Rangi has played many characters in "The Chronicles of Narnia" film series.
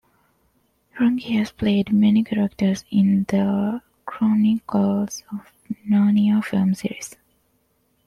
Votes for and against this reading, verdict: 2, 1, accepted